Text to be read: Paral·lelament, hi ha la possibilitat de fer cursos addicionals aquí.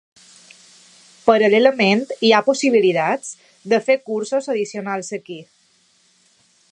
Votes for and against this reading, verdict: 0, 2, rejected